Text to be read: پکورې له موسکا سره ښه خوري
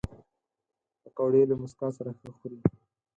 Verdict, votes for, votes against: accepted, 4, 2